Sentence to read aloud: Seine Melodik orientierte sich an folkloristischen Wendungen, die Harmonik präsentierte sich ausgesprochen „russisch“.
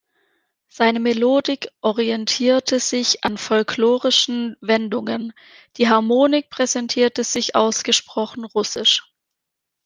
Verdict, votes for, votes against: rejected, 0, 2